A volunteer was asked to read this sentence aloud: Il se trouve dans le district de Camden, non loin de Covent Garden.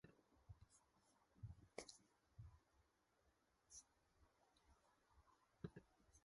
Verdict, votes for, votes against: rejected, 0, 2